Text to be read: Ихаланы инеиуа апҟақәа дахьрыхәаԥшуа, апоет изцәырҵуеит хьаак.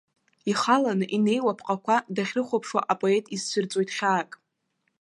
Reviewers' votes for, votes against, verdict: 1, 2, rejected